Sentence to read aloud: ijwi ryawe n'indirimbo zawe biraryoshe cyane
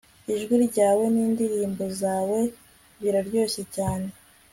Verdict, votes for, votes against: rejected, 1, 2